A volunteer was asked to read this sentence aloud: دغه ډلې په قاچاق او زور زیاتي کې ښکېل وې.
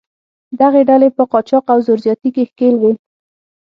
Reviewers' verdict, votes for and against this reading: accepted, 6, 0